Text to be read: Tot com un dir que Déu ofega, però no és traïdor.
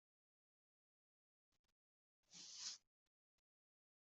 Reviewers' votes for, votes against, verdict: 0, 2, rejected